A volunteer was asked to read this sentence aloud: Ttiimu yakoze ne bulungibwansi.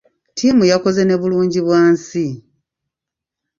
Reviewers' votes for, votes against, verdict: 1, 2, rejected